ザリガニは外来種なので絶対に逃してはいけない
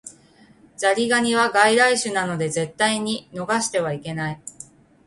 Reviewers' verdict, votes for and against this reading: rejected, 1, 2